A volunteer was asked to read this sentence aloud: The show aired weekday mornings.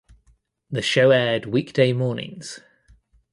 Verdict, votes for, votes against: accepted, 2, 0